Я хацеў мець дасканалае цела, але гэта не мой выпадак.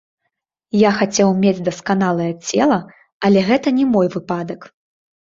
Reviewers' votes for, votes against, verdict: 2, 1, accepted